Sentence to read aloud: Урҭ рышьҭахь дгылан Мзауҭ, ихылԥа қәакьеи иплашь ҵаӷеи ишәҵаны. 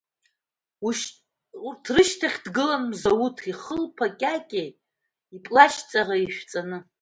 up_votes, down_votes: 1, 2